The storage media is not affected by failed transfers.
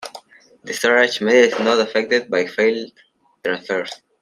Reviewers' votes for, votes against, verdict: 2, 0, accepted